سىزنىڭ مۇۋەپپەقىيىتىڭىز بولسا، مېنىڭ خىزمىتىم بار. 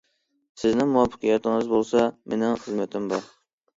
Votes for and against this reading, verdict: 2, 1, accepted